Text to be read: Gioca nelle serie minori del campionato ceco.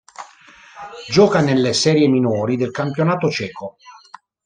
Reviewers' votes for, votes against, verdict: 1, 2, rejected